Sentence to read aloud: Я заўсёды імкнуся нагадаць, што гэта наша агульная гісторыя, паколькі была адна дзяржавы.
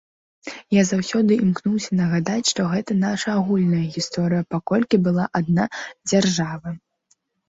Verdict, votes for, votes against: rejected, 1, 2